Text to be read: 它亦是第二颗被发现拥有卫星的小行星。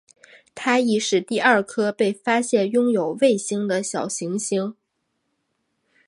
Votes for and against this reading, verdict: 2, 0, accepted